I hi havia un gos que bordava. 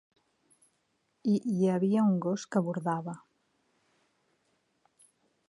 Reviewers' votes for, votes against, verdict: 1, 2, rejected